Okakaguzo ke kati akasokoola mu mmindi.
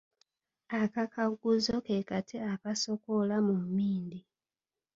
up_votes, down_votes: 3, 1